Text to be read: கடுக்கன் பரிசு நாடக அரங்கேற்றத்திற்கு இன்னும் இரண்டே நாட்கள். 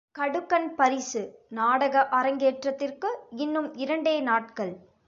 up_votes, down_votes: 2, 0